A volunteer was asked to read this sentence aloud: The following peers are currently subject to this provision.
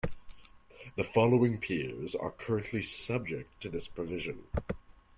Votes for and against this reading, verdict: 2, 0, accepted